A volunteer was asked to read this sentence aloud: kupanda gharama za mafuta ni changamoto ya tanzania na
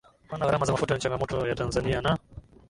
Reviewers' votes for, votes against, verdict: 2, 0, accepted